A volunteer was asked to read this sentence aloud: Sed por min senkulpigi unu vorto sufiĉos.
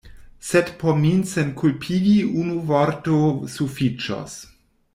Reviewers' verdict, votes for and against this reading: rejected, 1, 2